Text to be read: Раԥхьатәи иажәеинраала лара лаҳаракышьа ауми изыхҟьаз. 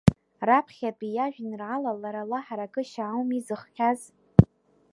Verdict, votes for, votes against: rejected, 1, 2